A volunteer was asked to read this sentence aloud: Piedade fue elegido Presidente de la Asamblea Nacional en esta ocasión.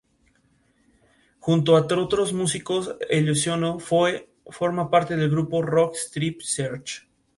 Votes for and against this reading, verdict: 0, 2, rejected